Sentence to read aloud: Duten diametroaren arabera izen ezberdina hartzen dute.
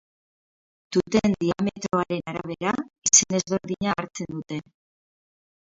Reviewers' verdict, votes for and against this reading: rejected, 2, 2